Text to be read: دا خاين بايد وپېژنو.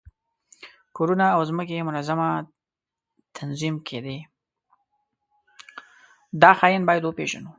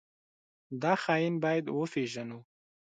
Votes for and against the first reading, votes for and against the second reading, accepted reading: 0, 2, 2, 1, second